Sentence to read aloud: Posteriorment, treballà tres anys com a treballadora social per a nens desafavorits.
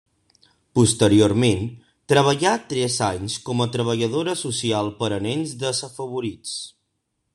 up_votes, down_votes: 1, 2